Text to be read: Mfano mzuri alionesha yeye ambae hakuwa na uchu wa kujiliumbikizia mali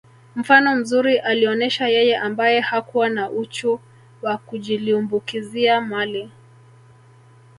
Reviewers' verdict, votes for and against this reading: rejected, 1, 2